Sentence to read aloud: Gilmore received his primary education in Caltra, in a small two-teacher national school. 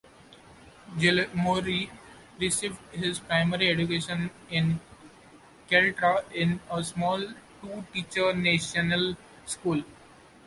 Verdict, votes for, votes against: rejected, 0, 2